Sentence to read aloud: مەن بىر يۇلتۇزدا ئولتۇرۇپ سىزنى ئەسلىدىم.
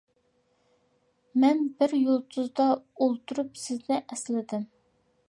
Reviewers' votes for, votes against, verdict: 2, 0, accepted